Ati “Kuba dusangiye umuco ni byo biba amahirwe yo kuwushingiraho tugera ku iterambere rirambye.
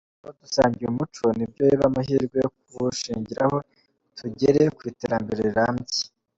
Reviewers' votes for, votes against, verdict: 0, 2, rejected